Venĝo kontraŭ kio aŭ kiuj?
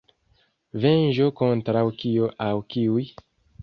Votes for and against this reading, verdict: 2, 0, accepted